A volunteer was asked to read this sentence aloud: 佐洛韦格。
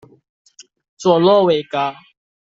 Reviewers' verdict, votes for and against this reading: accepted, 2, 0